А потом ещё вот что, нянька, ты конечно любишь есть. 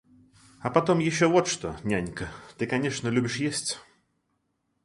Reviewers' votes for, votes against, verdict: 2, 0, accepted